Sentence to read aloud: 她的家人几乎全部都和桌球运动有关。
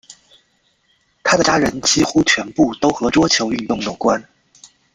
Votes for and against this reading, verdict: 2, 0, accepted